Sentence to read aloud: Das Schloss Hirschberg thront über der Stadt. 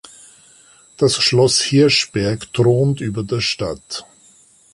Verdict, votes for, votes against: accepted, 2, 0